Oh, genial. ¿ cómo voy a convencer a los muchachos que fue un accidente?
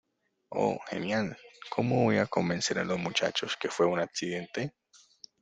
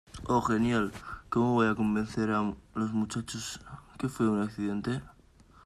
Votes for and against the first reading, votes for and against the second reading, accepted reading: 2, 0, 1, 2, first